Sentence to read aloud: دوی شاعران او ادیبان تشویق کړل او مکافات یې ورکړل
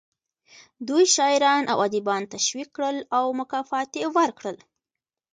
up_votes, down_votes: 1, 2